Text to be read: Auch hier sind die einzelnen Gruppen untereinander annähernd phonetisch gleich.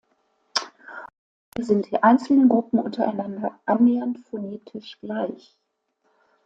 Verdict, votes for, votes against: rejected, 0, 2